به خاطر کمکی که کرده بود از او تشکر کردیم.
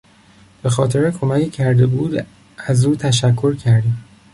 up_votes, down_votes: 3, 1